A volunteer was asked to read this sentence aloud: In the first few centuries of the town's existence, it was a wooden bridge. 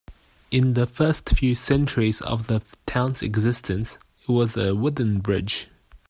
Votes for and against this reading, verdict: 2, 0, accepted